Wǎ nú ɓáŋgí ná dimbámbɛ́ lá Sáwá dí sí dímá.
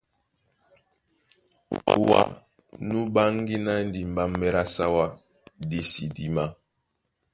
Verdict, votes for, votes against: accepted, 2, 0